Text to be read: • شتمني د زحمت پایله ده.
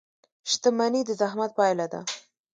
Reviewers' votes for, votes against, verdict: 1, 2, rejected